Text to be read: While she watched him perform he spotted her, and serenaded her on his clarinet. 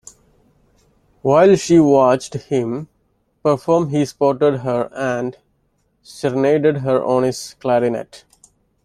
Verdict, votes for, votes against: rejected, 1, 2